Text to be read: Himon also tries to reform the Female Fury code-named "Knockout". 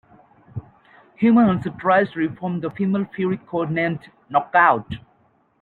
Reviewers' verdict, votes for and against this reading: rejected, 0, 2